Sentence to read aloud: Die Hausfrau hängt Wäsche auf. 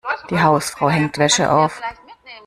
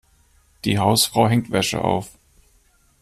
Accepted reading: second